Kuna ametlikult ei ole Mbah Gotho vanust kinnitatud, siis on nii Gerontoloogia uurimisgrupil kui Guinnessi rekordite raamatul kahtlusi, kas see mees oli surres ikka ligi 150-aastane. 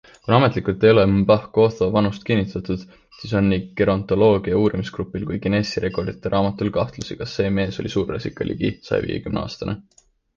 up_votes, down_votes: 0, 2